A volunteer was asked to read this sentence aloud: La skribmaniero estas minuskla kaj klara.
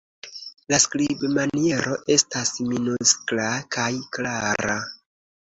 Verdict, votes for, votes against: accepted, 2, 0